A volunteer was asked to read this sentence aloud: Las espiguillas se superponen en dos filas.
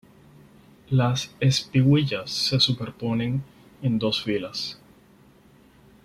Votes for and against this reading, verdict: 0, 4, rejected